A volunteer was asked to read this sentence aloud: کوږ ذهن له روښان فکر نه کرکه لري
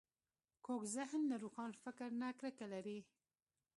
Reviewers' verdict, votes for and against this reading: accepted, 2, 0